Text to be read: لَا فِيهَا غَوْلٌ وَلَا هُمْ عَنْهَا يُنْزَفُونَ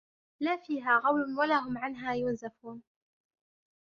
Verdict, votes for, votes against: accepted, 2, 0